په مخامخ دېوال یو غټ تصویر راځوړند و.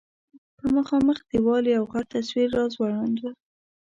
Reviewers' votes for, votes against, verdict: 1, 2, rejected